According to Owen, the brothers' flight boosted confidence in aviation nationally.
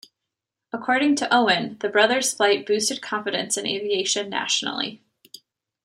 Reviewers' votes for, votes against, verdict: 2, 0, accepted